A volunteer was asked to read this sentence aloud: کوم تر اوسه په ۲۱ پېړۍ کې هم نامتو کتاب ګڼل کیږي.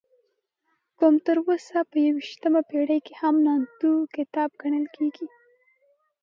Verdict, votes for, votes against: rejected, 0, 2